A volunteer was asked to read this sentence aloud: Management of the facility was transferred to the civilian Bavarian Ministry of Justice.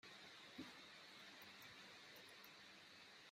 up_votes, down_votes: 0, 2